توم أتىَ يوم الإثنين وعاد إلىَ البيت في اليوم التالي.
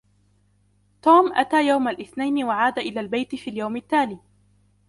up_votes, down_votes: 2, 0